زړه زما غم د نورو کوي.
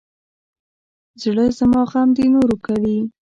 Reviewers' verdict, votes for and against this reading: rejected, 1, 2